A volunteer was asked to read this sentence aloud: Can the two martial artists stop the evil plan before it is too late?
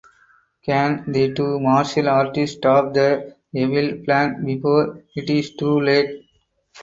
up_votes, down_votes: 2, 4